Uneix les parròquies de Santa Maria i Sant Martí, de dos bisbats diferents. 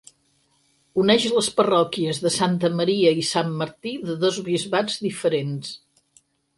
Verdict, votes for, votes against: accepted, 8, 0